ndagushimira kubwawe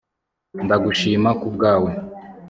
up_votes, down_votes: 2, 0